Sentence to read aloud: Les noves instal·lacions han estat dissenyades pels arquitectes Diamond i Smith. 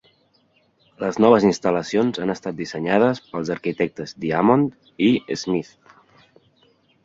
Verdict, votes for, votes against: accepted, 3, 0